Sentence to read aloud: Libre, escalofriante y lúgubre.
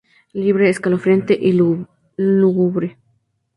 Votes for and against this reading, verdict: 0, 4, rejected